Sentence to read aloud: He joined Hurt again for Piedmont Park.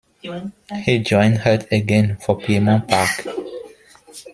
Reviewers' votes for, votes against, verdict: 0, 2, rejected